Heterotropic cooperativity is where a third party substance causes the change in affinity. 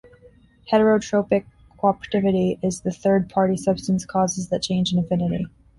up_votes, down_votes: 1, 2